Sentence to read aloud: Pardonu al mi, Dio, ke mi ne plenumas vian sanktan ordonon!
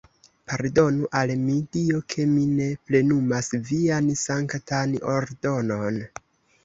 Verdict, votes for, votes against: accepted, 2, 1